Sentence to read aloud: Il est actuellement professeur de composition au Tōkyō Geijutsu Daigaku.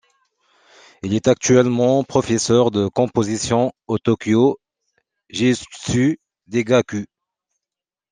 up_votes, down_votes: 1, 2